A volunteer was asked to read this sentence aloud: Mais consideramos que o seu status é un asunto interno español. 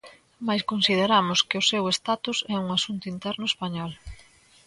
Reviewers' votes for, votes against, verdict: 2, 0, accepted